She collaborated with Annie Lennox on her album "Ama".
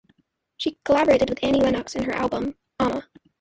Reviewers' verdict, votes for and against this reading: rejected, 0, 3